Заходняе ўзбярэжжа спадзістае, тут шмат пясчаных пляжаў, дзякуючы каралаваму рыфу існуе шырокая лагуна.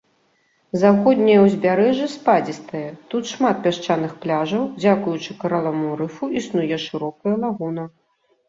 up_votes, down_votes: 2, 1